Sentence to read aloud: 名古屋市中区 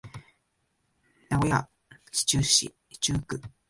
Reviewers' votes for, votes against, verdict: 2, 1, accepted